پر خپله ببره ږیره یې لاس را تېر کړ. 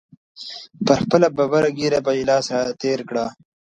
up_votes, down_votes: 1, 2